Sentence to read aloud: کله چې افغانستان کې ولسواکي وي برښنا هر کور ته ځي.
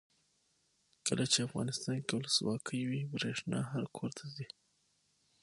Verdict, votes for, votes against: accepted, 6, 0